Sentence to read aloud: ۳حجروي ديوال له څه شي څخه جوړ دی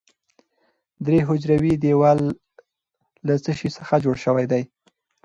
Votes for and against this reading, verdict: 0, 2, rejected